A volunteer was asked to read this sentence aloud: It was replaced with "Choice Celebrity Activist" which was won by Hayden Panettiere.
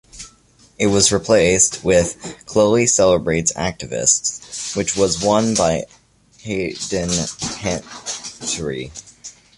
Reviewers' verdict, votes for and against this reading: rejected, 0, 2